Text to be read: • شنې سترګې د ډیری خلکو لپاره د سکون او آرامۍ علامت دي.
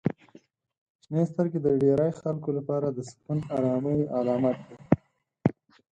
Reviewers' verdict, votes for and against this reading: accepted, 4, 0